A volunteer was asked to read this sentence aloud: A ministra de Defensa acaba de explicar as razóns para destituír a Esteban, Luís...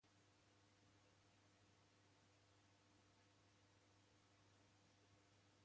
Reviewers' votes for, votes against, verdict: 0, 2, rejected